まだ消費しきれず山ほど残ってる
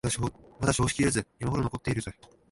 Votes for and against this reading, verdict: 2, 3, rejected